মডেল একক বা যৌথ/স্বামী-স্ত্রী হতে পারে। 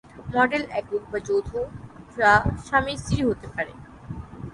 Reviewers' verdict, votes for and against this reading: rejected, 0, 3